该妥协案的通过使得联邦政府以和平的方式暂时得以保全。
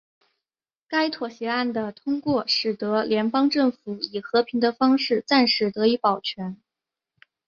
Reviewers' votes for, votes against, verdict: 2, 1, accepted